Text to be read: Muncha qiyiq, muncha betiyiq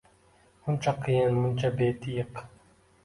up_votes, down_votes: 2, 1